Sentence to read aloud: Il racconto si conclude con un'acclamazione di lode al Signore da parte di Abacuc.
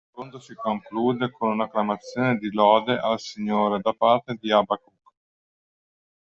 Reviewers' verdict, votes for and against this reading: rejected, 0, 2